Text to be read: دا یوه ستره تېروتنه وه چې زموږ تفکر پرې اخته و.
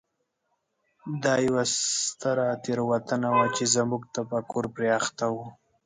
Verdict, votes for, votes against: accepted, 2, 0